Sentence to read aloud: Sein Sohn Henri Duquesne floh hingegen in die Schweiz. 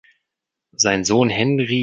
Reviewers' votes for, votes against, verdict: 0, 3, rejected